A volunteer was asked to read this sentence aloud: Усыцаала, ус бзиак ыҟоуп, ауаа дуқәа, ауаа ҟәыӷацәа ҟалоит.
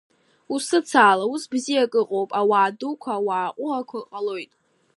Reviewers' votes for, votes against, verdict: 1, 2, rejected